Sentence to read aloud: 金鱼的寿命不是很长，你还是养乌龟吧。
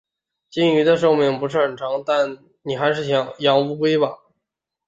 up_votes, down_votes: 0, 2